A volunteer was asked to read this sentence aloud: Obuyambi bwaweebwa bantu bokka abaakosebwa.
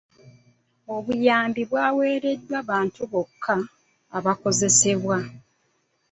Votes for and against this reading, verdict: 0, 2, rejected